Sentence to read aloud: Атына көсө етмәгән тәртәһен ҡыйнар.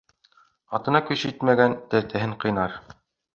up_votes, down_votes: 2, 0